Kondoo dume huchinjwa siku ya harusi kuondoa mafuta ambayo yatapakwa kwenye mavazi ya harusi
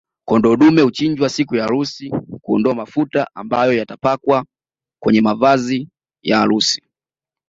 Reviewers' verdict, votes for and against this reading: accepted, 2, 0